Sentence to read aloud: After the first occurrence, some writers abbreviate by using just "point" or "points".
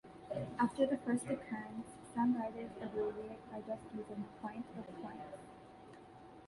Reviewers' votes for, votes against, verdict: 0, 2, rejected